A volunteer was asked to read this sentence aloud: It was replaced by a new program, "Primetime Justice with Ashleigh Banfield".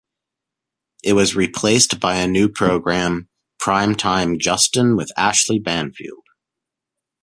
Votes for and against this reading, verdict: 1, 2, rejected